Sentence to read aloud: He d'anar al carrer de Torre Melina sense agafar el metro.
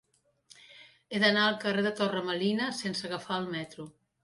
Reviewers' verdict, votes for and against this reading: accepted, 3, 0